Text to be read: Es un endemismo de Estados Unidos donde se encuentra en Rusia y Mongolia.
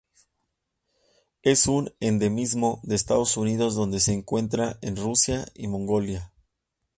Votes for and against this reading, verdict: 0, 2, rejected